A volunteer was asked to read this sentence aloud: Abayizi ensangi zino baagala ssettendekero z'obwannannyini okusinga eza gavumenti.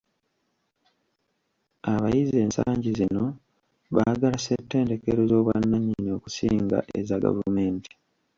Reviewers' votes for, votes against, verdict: 1, 2, rejected